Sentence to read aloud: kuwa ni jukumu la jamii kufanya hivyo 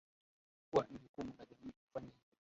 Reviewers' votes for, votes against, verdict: 0, 2, rejected